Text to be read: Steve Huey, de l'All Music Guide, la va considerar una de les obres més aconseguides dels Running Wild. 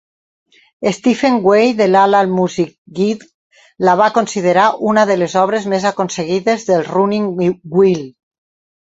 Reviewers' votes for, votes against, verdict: 0, 4, rejected